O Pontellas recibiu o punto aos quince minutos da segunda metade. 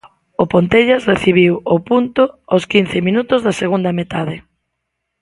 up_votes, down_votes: 2, 0